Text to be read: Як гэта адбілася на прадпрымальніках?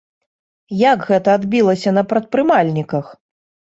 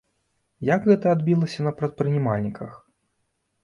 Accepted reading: first